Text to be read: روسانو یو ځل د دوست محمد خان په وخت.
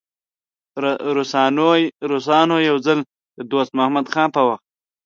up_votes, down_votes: 0, 2